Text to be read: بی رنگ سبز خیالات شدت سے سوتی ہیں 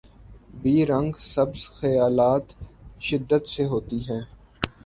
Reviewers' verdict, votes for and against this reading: accepted, 3, 2